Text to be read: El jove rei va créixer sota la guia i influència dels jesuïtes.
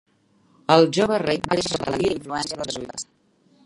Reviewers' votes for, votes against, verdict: 0, 2, rejected